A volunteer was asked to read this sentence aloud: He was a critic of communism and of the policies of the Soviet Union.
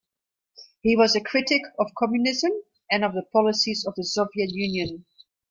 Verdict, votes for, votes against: rejected, 1, 2